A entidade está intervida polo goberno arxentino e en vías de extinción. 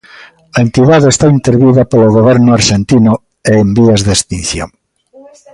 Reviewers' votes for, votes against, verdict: 2, 0, accepted